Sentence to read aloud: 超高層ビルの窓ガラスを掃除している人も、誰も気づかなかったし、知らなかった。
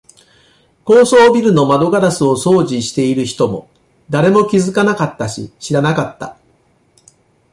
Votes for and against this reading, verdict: 0, 2, rejected